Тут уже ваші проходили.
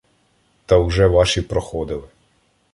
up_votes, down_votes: 0, 2